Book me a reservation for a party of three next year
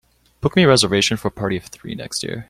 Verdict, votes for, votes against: accepted, 3, 0